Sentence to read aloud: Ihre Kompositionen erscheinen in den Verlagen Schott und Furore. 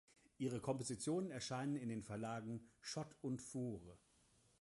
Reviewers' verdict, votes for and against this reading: accepted, 2, 0